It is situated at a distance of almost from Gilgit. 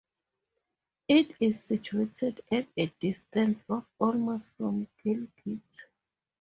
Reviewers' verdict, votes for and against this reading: accepted, 2, 0